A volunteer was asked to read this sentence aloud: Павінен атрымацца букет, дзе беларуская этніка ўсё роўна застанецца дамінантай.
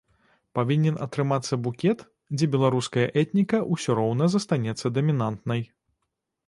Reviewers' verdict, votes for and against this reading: rejected, 1, 2